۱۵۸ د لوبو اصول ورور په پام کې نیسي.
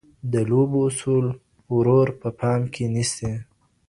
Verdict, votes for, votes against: rejected, 0, 2